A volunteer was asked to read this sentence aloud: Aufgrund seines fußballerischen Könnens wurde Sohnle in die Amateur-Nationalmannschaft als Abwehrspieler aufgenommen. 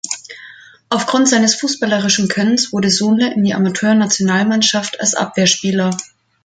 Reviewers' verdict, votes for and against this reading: rejected, 0, 2